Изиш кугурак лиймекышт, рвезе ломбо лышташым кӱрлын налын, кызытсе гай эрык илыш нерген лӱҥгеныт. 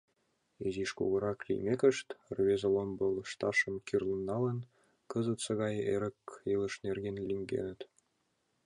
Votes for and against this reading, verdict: 2, 0, accepted